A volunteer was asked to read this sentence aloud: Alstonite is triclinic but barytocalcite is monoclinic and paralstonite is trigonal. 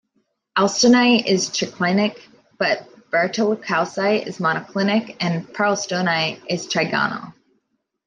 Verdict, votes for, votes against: accepted, 2, 1